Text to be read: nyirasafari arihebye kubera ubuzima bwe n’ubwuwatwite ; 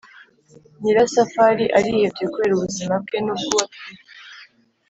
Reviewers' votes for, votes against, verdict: 0, 3, rejected